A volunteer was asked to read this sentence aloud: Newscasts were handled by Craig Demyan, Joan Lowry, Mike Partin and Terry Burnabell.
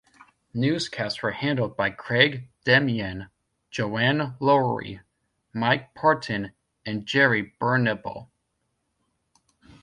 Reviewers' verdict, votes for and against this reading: rejected, 0, 2